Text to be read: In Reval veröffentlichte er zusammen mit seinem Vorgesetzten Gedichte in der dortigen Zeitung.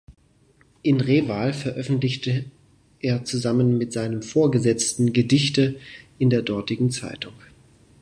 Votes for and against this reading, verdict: 2, 0, accepted